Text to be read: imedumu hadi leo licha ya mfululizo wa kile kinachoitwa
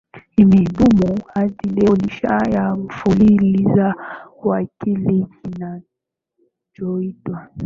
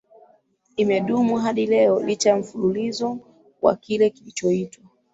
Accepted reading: second